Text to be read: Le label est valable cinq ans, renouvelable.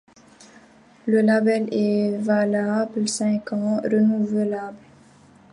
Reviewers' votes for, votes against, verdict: 0, 2, rejected